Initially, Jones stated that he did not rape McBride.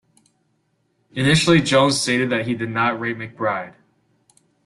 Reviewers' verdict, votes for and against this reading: accepted, 2, 0